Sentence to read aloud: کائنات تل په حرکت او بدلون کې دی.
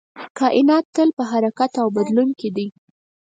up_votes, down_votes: 4, 0